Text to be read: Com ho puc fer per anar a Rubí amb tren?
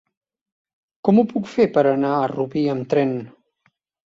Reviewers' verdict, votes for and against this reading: accepted, 3, 0